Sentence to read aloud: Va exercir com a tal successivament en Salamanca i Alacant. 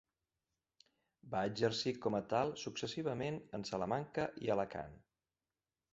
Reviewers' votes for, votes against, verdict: 3, 0, accepted